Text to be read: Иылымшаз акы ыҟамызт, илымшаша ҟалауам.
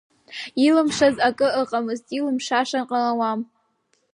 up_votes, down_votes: 8, 0